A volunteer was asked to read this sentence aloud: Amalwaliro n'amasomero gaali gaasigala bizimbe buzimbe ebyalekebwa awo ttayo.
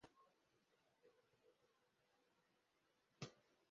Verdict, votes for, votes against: rejected, 0, 2